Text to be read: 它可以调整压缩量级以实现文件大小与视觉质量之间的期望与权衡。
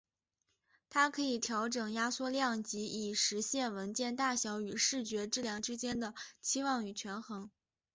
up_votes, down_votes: 2, 0